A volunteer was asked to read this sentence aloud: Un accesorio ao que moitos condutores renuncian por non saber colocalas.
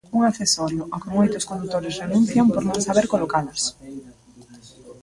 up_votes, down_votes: 0, 2